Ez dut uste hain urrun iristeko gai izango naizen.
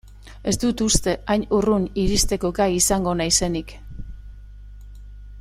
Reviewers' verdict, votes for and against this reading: rejected, 0, 2